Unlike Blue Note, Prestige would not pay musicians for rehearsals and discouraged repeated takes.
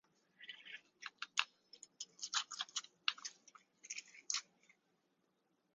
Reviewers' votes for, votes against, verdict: 0, 2, rejected